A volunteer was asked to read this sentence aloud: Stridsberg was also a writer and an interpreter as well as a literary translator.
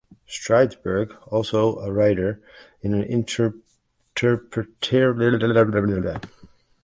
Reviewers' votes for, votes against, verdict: 0, 2, rejected